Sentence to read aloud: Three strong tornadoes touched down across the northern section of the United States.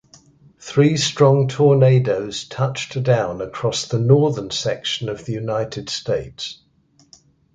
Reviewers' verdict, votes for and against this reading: accepted, 2, 0